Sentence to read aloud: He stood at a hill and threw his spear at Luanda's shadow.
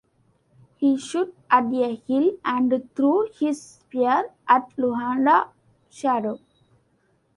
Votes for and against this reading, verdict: 1, 2, rejected